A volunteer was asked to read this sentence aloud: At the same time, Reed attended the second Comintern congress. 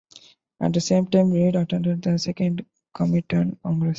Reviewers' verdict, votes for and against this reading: rejected, 0, 2